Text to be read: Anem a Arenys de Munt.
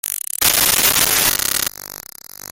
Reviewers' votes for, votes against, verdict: 0, 2, rejected